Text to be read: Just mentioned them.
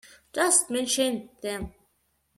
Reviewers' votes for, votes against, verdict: 0, 2, rejected